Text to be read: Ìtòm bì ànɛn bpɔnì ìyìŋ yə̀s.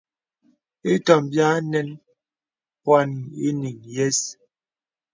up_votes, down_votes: 2, 0